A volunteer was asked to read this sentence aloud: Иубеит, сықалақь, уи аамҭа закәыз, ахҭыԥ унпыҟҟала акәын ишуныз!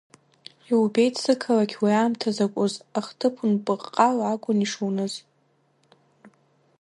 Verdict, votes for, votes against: accepted, 2, 1